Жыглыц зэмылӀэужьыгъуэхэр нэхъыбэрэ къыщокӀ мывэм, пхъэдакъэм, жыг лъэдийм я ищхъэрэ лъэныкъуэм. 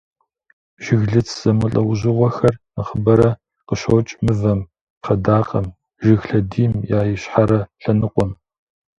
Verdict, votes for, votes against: rejected, 1, 2